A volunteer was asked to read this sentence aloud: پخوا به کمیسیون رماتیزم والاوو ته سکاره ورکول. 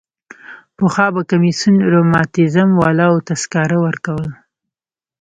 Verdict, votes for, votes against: rejected, 1, 2